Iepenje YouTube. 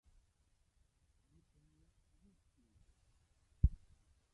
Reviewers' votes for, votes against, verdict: 1, 2, rejected